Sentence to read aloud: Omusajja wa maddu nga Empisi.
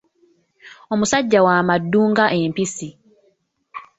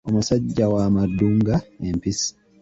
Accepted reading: first